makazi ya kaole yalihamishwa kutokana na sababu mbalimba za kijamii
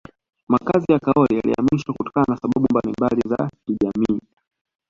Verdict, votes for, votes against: rejected, 1, 2